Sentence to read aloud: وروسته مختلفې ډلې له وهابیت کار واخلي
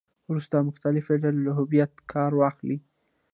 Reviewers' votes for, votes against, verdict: 1, 2, rejected